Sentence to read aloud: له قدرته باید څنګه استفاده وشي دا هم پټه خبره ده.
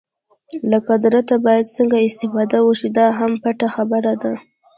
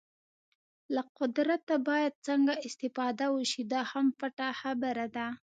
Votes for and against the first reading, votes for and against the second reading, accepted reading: 2, 0, 1, 2, first